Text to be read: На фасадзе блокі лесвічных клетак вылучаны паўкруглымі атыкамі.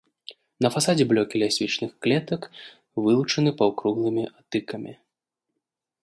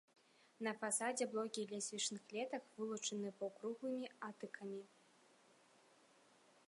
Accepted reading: second